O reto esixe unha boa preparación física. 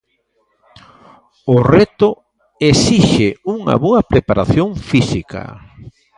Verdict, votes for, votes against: accepted, 2, 0